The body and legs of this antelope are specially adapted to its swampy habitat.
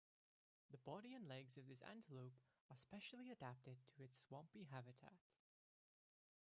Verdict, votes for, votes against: rejected, 1, 2